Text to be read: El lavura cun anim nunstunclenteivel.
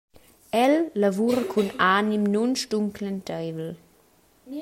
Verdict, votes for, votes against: rejected, 1, 2